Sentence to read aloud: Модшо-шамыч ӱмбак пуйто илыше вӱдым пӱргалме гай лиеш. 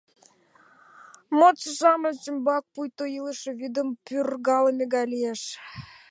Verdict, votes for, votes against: accepted, 2, 0